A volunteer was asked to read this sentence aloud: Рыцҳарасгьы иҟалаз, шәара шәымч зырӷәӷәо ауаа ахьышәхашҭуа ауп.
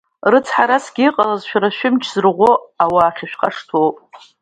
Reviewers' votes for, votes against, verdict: 2, 1, accepted